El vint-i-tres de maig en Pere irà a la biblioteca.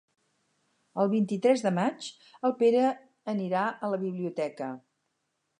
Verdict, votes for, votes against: accepted, 4, 2